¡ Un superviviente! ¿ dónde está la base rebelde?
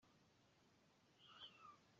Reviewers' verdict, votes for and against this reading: rejected, 0, 2